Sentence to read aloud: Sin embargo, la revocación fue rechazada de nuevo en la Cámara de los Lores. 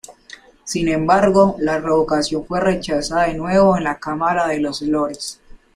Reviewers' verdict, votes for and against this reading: rejected, 0, 3